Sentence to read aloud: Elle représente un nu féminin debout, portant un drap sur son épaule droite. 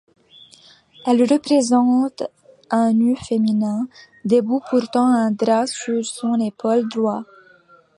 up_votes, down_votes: 0, 2